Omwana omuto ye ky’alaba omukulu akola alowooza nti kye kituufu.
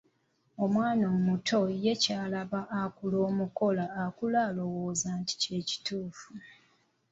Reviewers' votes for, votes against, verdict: 0, 2, rejected